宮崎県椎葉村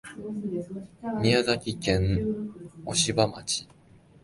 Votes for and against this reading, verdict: 0, 2, rejected